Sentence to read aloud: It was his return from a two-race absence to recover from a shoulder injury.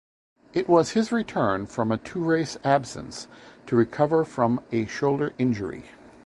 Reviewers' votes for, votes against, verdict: 2, 0, accepted